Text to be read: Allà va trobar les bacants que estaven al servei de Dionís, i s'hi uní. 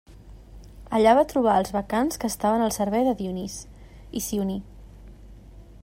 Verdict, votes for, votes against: rejected, 1, 2